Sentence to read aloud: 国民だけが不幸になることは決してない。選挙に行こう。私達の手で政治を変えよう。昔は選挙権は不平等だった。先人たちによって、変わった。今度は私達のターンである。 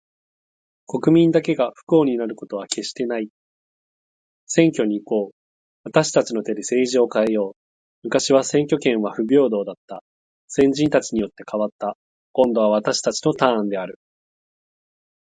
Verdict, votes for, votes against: accepted, 4, 0